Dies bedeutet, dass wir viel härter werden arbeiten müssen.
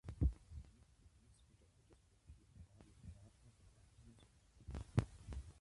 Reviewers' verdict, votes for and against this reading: rejected, 0, 2